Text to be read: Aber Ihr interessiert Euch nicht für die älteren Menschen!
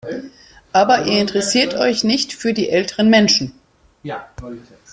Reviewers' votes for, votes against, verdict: 1, 2, rejected